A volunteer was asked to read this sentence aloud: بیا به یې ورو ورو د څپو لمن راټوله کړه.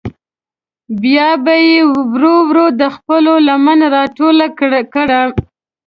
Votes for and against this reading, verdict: 1, 2, rejected